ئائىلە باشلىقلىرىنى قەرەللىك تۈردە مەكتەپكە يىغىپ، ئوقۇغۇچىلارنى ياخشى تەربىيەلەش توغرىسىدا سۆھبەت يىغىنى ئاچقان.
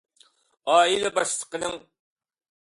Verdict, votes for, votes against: rejected, 0, 2